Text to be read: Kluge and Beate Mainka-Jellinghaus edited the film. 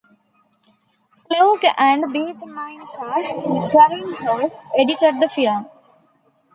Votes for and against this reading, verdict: 0, 3, rejected